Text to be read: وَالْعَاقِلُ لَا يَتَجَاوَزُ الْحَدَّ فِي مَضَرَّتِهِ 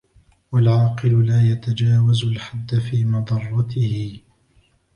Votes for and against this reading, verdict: 1, 2, rejected